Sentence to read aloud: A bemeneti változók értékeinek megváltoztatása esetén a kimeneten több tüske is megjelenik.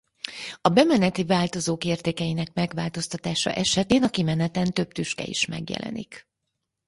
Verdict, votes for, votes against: accepted, 4, 0